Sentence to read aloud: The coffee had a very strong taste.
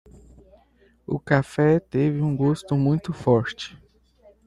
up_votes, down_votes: 0, 2